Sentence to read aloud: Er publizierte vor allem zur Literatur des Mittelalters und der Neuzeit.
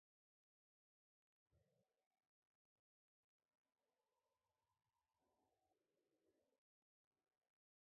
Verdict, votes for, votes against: rejected, 0, 2